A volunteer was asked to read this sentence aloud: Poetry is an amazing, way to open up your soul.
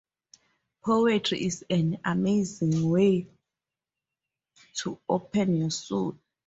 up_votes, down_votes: 2, 0